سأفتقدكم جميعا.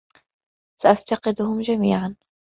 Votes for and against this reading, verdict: 1, 2, rejected